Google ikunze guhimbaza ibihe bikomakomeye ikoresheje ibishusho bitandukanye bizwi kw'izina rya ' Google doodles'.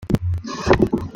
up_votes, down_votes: 0, 2